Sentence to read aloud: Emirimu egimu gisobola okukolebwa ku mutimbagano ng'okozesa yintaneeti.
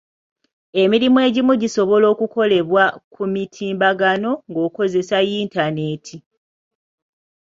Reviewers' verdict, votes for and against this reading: rejected, 0, 2